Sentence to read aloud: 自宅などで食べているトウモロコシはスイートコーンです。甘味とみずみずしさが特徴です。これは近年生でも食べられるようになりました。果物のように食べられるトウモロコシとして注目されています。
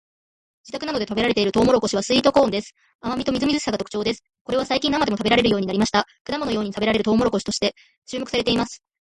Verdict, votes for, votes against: rejected, 1, 2